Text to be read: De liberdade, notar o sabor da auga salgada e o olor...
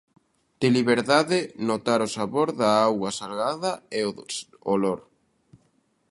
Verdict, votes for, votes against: rejected, 0, 2